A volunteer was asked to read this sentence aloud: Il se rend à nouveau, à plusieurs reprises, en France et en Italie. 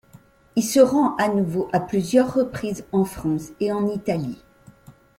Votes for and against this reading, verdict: 2, 0, accepted